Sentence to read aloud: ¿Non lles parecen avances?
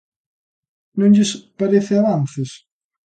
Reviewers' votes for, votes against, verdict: 0, 2, rejected